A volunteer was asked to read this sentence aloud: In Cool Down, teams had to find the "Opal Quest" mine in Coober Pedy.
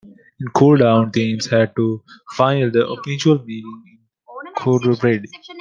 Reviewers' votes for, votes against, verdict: 0, 2, rejected